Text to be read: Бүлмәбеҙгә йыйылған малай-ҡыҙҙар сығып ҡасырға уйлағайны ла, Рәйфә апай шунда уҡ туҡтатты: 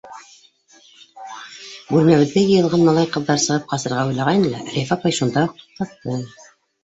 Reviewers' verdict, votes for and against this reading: accepted, 2, 1